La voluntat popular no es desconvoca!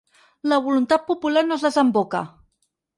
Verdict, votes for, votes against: rejected, 2, 4